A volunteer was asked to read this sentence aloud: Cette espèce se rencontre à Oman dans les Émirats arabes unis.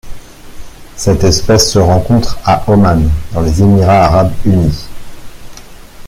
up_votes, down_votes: 2, 0